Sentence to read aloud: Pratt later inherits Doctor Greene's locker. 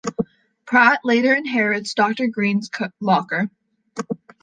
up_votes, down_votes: 1, 2